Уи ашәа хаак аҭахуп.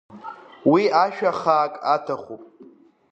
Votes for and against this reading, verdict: 2, 1, accepted